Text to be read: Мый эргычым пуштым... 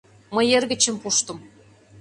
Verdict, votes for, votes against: accepted, 2, 0